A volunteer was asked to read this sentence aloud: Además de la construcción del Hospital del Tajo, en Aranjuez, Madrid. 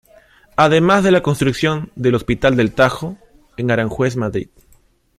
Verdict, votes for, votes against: accepted, 2, 0